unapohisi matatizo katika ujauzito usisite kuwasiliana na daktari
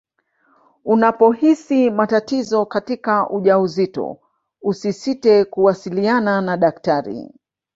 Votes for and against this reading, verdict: 1, 2, rejected